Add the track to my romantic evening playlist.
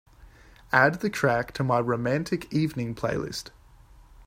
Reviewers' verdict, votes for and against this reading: accepted, 3, 0